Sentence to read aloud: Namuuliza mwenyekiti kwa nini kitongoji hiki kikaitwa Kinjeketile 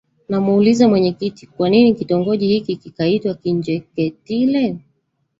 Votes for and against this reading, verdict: 1, 2, rejected